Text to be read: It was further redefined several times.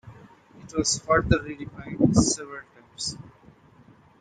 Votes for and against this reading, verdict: 1, 2, rejected